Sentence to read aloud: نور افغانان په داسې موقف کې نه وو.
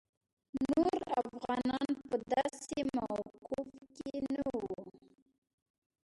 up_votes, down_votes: 0, 2